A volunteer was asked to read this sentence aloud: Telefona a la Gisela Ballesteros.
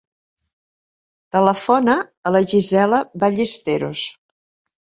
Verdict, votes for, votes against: accepted, 2, 0